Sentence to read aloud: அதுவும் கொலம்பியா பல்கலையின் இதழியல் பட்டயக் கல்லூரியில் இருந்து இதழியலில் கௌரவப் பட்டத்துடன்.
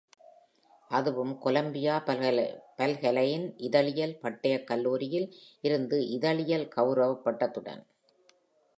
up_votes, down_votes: 0, 2